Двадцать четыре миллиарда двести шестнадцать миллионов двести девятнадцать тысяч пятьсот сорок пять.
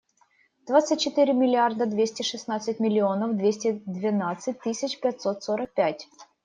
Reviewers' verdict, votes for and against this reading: rejected, 1, 2